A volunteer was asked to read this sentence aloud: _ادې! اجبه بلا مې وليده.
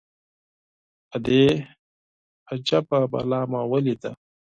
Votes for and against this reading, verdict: 4, 0, accepted